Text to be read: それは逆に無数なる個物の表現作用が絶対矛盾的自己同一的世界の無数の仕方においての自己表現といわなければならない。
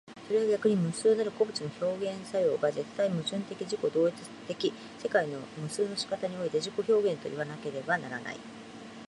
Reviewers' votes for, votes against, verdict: 2, 0, accepted